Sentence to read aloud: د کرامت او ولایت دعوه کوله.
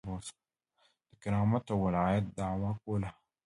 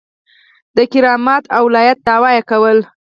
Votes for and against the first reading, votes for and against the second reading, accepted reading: 1, 2, 4, 2, second